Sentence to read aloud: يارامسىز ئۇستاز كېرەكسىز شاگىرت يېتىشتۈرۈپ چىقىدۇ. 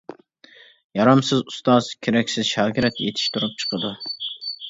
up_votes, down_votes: 2, 0